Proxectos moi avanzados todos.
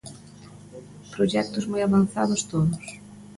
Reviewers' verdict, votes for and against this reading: rejected, 1, 2